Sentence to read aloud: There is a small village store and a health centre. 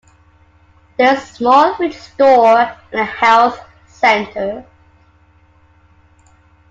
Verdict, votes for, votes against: accepted, 2, 1